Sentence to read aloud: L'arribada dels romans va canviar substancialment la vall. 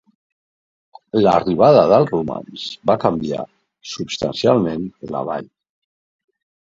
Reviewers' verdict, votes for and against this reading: accepted, 2, 0